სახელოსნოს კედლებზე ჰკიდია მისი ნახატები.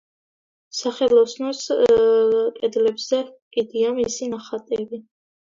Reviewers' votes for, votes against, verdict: 2, 1, accepted